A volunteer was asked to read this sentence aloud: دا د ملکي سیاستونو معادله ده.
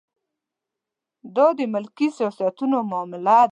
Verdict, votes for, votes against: rejected, 1, 2